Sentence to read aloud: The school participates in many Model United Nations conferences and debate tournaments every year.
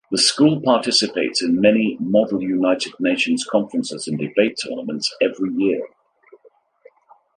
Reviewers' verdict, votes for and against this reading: accepted, 2, 0